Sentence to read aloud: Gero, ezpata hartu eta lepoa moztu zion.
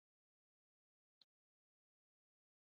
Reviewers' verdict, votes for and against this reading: rejected, 0, 2